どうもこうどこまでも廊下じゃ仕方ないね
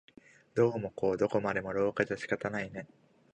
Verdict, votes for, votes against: accepted, 2, 0